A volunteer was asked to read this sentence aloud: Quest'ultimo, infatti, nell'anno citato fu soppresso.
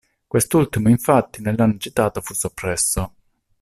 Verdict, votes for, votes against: rejected, 1, 2